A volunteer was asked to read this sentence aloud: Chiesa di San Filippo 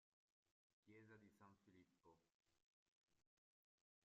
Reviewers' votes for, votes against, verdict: 0, 2, rejected